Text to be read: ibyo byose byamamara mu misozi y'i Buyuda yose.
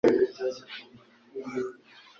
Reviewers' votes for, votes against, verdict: 1, 2, rejected